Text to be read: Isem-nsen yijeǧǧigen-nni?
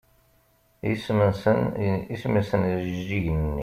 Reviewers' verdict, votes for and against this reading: rejected, 0, 2